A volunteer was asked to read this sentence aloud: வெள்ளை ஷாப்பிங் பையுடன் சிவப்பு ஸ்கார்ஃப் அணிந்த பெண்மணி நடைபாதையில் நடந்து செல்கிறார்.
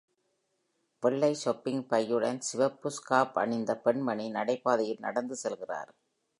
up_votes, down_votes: 2, 0